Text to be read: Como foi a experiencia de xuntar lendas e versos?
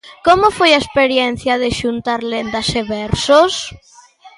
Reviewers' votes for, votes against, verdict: 2, 0, accepted